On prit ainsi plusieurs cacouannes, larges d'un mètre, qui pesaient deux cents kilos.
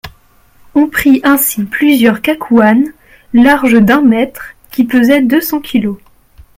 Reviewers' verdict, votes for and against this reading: accepted, 2, 0